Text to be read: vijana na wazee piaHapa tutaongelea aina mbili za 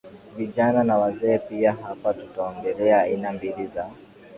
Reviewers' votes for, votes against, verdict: 2, 0, accepted